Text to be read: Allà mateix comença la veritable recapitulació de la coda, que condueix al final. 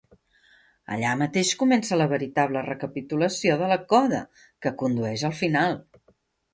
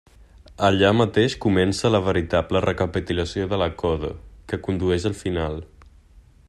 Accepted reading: first